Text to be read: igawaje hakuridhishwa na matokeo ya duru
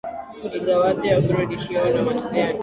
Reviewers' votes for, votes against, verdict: 9, 5, accepted